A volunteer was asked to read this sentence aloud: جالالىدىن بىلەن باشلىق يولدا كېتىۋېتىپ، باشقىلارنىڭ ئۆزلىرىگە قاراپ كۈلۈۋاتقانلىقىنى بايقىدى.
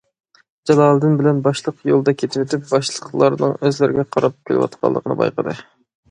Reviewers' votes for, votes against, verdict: 0, 2, rejected